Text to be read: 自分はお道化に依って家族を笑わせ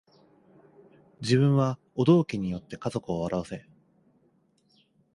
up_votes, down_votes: 3, 1